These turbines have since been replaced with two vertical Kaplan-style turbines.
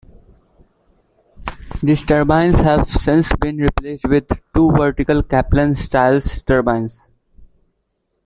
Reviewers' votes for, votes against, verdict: 0, 2, rejected